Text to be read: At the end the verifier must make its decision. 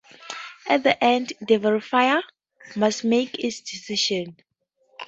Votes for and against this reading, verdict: 2, 0, accepted